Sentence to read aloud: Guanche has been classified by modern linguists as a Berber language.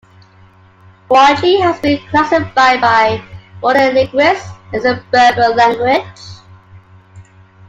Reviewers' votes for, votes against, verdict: 2, 0, accepted